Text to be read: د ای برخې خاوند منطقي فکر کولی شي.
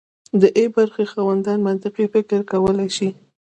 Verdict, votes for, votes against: accepted, 2, 1